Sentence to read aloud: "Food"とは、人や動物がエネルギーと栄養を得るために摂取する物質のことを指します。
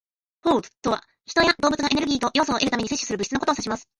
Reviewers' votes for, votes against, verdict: 1, 2, rejected